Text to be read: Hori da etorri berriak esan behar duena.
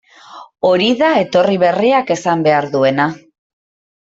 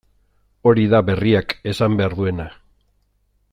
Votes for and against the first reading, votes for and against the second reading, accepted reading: 2, 0, 0, 2, first